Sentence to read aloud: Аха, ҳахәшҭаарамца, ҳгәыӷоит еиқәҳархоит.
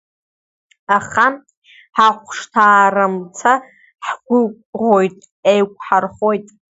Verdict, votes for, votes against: accepted, 2, 0